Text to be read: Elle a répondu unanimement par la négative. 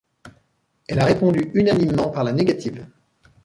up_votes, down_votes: 2, 0